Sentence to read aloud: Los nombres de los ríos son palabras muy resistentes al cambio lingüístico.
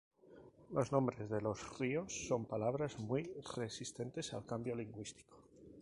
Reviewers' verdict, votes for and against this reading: rejected, 2, 2